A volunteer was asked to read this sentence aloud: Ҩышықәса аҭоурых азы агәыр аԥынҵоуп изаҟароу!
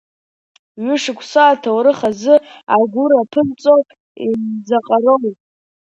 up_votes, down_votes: 0, 2